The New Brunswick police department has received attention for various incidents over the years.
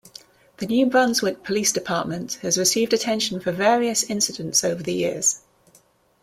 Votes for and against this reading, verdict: 2, 0, accepted